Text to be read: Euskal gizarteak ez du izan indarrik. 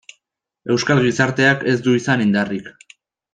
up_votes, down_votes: 2, 0